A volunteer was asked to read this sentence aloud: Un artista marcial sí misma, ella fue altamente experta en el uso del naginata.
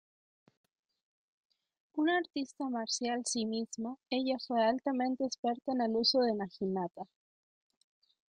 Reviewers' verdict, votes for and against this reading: rejected, 0, 2